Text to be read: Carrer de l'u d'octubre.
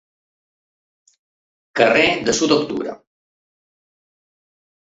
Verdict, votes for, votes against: rejected, 0, 2